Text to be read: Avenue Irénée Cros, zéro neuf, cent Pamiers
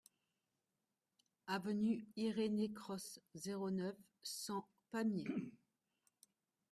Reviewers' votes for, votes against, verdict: 1, 2, rejected